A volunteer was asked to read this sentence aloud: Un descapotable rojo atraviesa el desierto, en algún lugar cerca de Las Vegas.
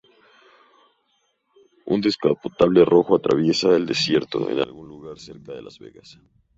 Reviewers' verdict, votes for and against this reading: rejected, 0, 4